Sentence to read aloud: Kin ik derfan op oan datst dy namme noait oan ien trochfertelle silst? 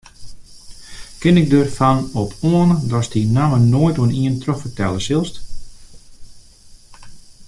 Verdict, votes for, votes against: accepted, 2, 0